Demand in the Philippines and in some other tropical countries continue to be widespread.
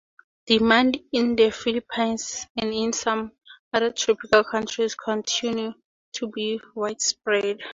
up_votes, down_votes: 2, 0